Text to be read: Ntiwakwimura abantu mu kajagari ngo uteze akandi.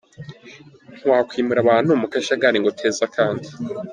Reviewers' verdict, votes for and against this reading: accepted, 2, 0